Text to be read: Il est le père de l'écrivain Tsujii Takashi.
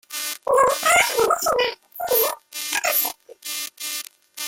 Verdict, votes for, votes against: rejected, 0, 2